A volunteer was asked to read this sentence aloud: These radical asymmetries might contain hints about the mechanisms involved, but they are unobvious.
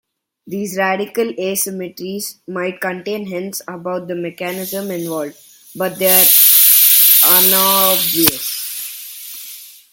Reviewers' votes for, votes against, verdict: 2, 1, accepted